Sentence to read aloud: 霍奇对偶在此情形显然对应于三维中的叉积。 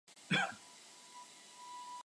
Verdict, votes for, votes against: rejected, 0, 2